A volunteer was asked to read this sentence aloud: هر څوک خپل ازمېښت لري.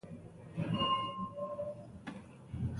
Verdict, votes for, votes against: rejected, 0, 2